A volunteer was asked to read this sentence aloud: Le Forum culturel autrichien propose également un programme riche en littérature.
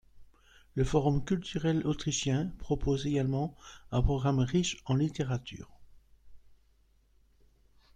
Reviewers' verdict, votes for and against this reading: accepted, 2, 1